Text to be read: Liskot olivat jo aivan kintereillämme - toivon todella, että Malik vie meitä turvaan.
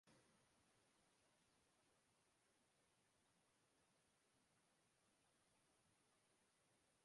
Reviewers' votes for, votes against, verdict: 0, 2, rejected